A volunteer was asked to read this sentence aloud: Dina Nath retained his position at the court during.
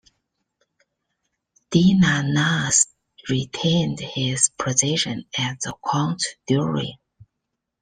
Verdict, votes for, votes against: accepted, 2, 1